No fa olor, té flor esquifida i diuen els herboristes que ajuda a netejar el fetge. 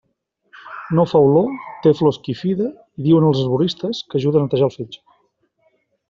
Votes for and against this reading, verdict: 2, 0, accepted